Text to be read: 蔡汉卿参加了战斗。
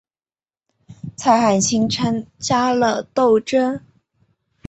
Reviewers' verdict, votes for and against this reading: rejected, 0, 2